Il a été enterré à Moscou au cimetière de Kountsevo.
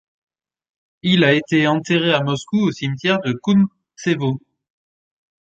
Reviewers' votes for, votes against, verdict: 2, 0, accepted